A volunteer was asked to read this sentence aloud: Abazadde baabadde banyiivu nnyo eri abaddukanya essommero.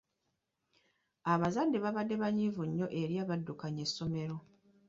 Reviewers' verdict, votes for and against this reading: accepted, 2, 0